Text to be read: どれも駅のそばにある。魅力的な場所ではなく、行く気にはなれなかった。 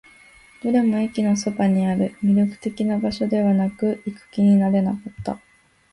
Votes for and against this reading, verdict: 2, 3, rejected